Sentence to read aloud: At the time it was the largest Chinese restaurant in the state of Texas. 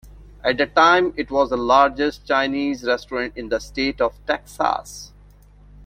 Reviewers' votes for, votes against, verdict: 2, 0, accepted